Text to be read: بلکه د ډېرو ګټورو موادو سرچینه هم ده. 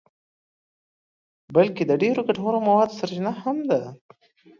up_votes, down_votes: 2, 0